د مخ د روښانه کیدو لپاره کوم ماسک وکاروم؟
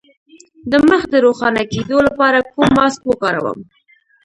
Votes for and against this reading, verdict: 2, 0, accepted